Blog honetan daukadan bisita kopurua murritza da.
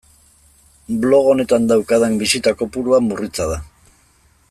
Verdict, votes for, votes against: accepted, 2, 0